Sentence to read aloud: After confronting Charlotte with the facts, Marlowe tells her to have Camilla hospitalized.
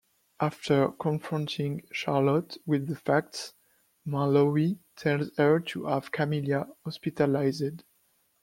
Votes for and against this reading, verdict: 2, 1, accepted